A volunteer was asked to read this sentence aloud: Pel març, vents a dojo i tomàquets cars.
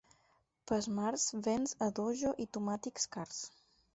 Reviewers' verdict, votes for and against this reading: accepted, 8, 0